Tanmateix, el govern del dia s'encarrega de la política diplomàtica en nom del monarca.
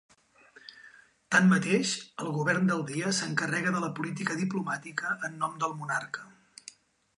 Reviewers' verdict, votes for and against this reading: accepted, 3, 0